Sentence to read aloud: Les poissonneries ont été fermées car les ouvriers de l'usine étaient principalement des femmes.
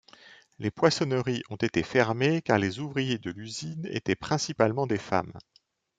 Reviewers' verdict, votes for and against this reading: accepted, 2, 0